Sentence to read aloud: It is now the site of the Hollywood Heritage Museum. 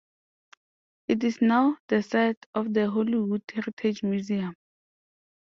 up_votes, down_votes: 2, 0